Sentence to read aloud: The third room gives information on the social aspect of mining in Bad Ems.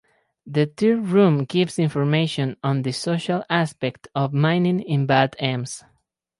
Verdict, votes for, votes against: rejected, 2, 2